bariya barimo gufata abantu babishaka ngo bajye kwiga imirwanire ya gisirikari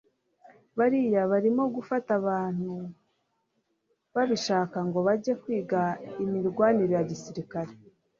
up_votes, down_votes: 2, 0